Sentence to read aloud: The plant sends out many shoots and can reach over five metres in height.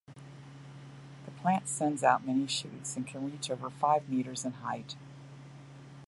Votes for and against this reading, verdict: 2, 0, accepted